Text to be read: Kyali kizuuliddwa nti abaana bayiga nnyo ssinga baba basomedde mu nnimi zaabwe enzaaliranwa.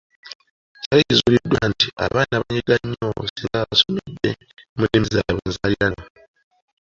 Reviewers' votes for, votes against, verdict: 0, 2, rejected